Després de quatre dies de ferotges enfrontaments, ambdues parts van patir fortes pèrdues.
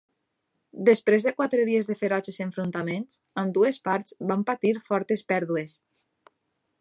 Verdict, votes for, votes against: accepted, 2, 0